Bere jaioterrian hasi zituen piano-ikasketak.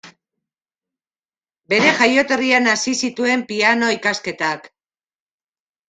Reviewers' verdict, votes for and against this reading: accepted, 2, 0